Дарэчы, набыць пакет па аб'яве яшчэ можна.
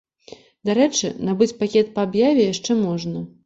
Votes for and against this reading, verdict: 2, 0, accepted